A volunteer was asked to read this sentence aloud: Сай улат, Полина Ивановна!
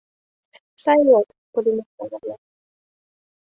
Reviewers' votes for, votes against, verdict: 0, 2, rejected